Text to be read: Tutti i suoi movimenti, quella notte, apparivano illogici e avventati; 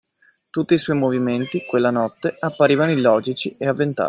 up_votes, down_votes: 2, 0